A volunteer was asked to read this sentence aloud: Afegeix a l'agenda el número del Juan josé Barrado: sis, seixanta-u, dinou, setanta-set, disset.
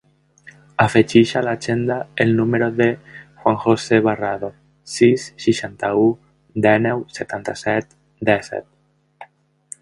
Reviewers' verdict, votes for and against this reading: rejected, 1, 2